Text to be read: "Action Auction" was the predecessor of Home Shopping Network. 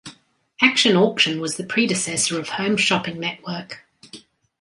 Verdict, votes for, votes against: accepted, 2, 0